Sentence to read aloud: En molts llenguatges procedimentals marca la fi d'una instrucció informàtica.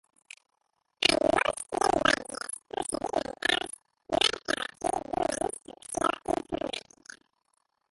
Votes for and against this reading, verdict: 0, 2, rejected